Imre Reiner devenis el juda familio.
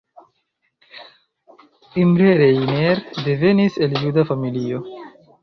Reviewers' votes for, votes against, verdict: 2, 0, accepted